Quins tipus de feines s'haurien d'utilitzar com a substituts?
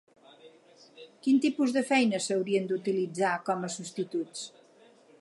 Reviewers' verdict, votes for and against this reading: rejected, 0, 4